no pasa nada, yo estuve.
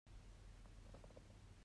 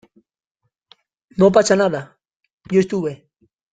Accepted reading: second